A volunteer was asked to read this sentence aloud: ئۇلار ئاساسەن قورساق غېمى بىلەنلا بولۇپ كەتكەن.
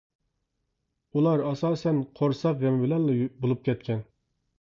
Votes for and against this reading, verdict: 0, 2, rejected